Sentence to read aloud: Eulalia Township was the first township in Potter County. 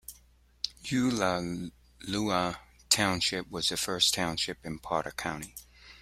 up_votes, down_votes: 0, 2